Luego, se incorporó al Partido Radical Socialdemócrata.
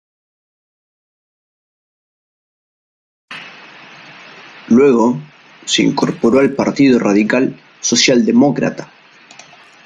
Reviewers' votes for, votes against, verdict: 2, 1, accepted